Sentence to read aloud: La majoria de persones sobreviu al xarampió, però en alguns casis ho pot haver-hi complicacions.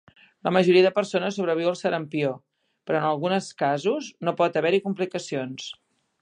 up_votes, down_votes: 0, 2